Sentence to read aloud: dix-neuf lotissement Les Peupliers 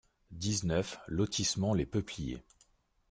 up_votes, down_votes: 2, 0